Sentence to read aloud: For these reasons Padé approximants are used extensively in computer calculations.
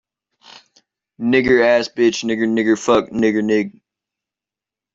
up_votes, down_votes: 0, 2